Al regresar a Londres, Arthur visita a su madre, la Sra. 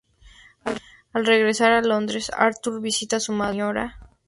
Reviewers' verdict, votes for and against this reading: accepted, 4, 2